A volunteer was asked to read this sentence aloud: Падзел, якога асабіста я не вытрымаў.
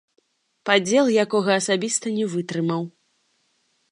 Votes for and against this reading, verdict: 1, 2, rejected